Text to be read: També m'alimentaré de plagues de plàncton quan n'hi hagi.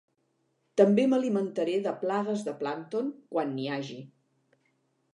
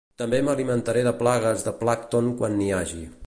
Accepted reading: first